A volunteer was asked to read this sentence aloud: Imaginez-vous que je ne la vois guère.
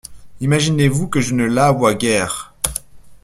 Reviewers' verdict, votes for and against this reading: accepted, 2, 0